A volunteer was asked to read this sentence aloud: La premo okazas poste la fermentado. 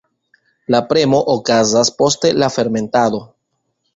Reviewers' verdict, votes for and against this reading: accepted, 2, 0